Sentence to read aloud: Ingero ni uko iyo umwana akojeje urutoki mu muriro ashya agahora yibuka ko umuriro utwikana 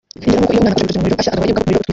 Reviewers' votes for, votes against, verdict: 0, 2, rejected